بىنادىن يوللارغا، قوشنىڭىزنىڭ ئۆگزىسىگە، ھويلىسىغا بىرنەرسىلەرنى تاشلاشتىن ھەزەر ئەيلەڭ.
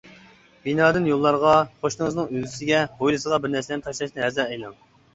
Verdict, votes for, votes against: rejected, 0, 2